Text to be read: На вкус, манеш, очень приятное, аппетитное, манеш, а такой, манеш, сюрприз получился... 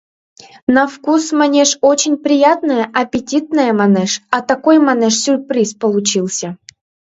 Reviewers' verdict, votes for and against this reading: accepted, 2, 0